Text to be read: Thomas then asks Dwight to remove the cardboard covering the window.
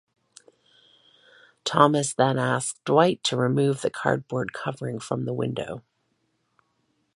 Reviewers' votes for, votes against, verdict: 0, 2, rejected